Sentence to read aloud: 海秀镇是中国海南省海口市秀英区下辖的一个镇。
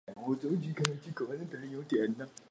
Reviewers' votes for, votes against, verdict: 1, 4, rejected